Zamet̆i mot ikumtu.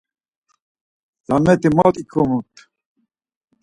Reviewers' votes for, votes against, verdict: 4, 2, accepted